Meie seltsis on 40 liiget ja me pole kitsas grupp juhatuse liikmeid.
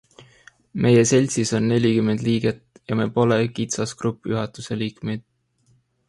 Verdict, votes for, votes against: rejected, 0, 2